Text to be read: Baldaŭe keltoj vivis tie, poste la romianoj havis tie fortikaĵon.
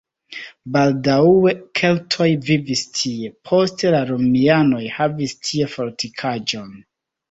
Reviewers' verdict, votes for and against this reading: rejected, 1, 2